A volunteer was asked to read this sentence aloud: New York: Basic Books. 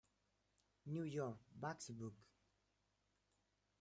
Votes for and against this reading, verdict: 0, 2, rejected